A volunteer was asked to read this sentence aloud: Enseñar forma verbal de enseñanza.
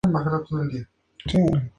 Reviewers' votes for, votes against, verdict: 0, 2, rejected